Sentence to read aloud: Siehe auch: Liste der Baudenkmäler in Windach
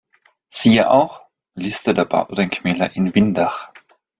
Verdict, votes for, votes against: accepted, 2, 1